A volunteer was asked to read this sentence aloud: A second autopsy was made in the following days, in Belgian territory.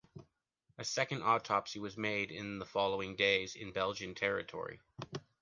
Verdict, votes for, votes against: accepted, 2, 0